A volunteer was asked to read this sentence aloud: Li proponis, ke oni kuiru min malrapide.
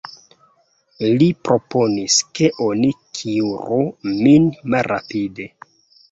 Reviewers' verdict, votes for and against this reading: accepted, 2, 1